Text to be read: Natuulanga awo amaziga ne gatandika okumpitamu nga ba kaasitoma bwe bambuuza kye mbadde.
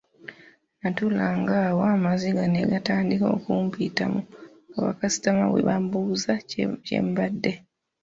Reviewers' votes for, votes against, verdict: 2, 1, accepted